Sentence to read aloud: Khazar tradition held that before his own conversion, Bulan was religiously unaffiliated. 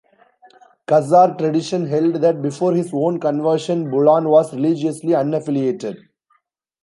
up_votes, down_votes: 1, 2